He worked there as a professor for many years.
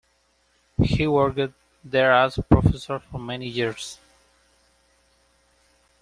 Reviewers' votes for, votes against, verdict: 0, 2, rejected